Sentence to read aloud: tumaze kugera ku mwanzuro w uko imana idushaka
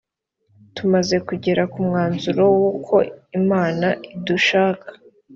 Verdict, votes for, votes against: accepted, 2, 0